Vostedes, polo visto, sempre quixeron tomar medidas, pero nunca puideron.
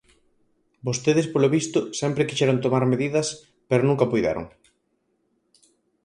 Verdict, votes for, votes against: accepted, 4, 0